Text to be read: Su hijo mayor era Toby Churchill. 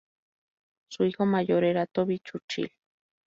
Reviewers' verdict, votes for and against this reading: rejected, 0, 2